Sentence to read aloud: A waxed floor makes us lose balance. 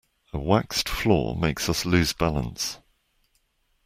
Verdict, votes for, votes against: accepted, 2, 0